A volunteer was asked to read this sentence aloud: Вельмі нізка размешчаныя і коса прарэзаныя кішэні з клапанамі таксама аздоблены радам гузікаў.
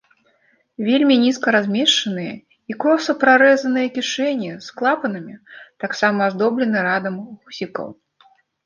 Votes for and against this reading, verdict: 1, 2, rejected